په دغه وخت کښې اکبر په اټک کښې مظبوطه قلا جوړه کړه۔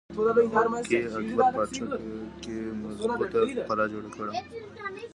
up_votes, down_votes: 0, 2